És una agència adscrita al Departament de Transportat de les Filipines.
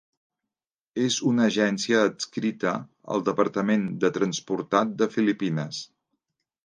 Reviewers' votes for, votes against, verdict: 0, 2, rejected